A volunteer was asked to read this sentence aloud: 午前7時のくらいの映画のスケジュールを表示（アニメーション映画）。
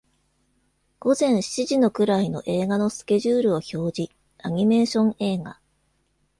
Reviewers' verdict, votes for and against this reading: rejected, 0, 2